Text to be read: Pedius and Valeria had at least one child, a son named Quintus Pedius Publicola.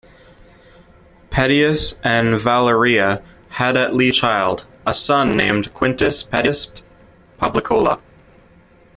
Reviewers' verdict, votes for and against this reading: rejected, 0, 2